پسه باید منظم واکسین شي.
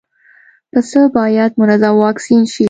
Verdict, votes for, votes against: accepted, 2, 0